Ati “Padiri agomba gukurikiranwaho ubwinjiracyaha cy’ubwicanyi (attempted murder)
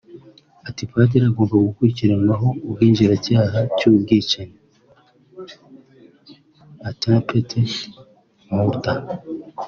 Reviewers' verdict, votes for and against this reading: accepted, 2, 0